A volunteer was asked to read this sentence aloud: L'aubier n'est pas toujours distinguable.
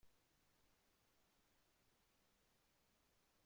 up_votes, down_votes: 0, 3